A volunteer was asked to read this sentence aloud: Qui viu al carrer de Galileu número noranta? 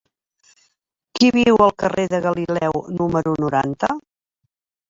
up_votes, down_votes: 1, 2